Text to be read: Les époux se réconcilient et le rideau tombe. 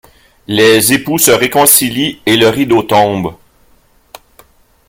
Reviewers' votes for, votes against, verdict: 1, 2, rejected